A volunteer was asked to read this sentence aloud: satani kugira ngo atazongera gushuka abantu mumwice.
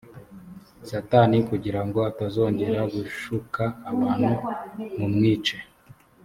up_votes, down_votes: 4, 0